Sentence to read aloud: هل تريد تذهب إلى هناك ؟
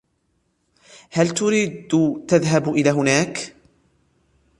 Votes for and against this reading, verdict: 0, 2, rejected